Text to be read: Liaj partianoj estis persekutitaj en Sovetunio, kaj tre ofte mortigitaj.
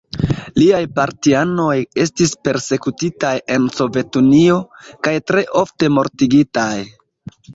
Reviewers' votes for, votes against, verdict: 0, 2, rejected